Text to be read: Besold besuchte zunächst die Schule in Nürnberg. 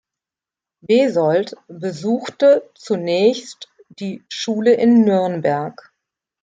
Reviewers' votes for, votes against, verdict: 2, 0, accepted